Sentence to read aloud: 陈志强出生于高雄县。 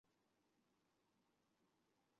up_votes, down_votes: 0, 3